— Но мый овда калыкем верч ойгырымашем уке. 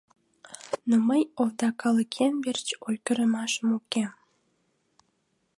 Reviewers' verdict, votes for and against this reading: accepted, 2, 0